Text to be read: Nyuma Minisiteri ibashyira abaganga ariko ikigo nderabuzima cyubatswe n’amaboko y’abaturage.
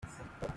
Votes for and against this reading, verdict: 0, 2, rejected